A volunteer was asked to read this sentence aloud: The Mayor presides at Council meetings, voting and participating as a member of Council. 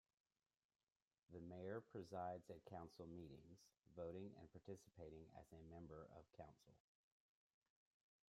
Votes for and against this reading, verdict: 1, 2, rejected